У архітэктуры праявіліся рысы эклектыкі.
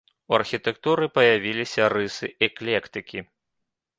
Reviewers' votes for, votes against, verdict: 0, 2, rejected